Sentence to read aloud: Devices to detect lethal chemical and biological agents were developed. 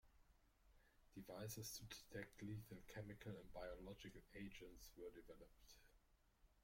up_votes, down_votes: 0, 2